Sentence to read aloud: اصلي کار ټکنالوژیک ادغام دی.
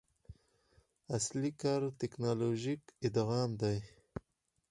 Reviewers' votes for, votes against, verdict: 2, 4, rejected